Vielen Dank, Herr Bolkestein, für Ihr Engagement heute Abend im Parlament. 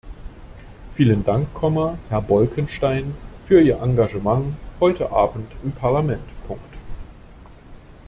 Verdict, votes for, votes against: rejected, 0, 2